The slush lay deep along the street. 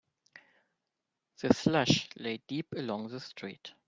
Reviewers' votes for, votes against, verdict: 4, 1, accepted